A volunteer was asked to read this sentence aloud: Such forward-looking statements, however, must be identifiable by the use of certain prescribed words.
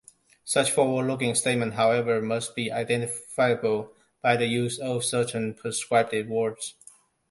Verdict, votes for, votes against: rejected, 0, 2